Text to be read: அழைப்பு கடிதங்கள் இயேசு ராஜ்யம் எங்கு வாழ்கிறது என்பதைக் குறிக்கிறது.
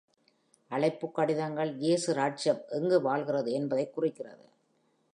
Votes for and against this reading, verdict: 2, 0, accepted